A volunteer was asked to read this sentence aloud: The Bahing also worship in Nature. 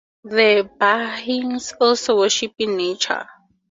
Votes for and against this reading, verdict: 2, 0, accepted